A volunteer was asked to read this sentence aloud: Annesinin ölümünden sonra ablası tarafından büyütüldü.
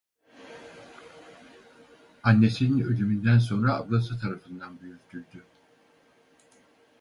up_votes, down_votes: 0, 4